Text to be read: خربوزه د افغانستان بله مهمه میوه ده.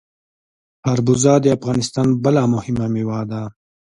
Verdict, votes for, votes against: accepted, 2, 0